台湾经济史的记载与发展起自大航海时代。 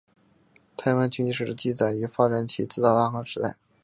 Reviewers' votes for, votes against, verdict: 0, 2, rejected